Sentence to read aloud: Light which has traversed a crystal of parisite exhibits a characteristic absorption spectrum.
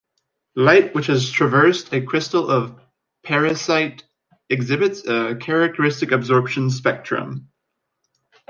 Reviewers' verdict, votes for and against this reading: accepted, 2, 0